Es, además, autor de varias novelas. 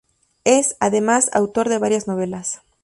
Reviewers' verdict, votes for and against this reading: rejected, 0, 2